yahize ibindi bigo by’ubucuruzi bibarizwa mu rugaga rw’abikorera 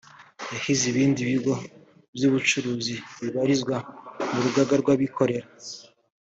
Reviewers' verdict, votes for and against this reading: accepted, 2, 1